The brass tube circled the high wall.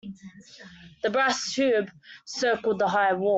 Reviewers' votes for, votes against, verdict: 1, 2, rejected